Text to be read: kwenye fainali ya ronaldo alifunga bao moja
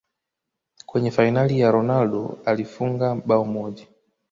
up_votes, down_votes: 2, 1